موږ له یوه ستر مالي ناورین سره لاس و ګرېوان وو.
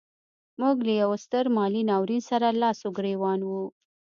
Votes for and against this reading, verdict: 2, 0, accepted